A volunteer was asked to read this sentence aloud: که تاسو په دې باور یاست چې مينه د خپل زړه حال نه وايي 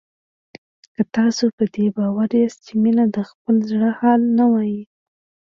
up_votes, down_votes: 2, 0